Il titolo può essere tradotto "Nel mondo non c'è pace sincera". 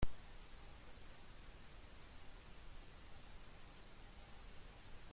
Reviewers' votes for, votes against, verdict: 0, 2, rejected